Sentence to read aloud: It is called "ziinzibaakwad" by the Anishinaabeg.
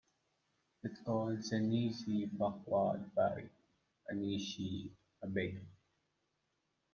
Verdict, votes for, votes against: rejected, 0, 2